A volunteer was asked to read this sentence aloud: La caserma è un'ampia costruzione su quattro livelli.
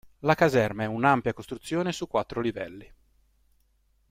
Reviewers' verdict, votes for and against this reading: accepted, 2, 0